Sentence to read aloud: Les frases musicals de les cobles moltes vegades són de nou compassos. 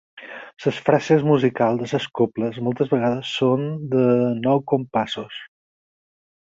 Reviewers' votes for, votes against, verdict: 2, 6, rejected